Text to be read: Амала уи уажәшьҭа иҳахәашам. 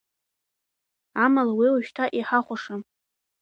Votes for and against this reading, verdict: 0, 2, rejected